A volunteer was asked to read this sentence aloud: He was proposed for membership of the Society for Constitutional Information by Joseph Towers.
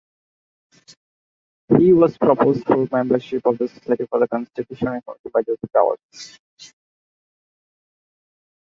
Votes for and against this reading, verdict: 1, 2, rejected